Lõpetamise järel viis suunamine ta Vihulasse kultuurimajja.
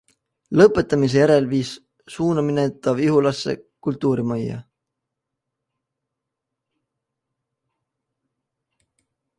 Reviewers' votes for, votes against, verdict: 2, 0, accepted